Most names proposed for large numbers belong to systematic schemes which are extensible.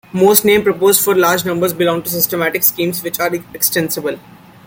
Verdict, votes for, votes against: accepted, 2, 1